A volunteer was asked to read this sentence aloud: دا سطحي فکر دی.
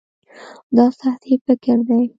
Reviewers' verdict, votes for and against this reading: rejected, 1, 2